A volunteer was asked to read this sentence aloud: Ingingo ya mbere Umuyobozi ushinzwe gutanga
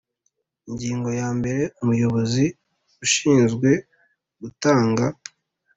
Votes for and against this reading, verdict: 3, 0, accepted